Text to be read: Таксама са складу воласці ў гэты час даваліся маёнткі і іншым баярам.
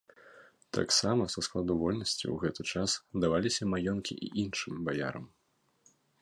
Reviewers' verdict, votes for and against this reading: rejected, 0, 2